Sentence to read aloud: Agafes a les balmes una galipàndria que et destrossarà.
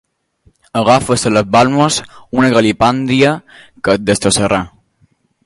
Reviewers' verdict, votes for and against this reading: rejected, 0, 2